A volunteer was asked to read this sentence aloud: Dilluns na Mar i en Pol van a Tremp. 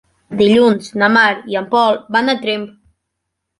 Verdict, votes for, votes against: accepted, 3, 1